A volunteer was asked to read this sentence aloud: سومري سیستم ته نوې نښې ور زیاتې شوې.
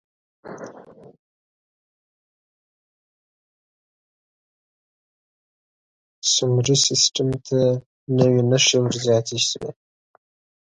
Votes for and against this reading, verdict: 1, 2, rejected